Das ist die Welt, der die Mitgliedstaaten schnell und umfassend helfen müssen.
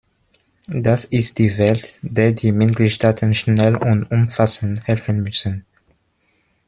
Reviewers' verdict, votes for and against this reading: accepted, 2, 1